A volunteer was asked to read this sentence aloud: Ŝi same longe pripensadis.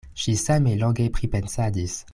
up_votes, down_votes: 0, 2